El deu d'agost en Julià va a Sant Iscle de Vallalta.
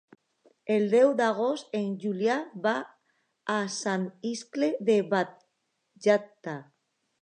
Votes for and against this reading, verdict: 0, 2, rejected